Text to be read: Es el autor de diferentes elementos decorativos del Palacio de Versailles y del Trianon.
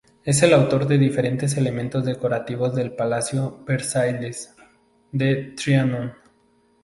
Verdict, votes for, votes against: rejected, 0, 2